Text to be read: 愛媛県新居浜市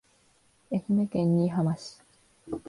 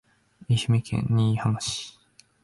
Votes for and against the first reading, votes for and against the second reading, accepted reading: 1, 2, 2, 0, second